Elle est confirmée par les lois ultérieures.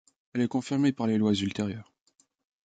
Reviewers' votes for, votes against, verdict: 3, 0, accepted